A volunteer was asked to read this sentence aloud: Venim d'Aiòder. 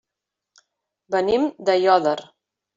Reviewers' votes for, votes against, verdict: 3, 0, accepted